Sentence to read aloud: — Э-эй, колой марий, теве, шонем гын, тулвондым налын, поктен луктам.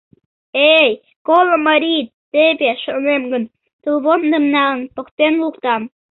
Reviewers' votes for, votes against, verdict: 1, 2, rejected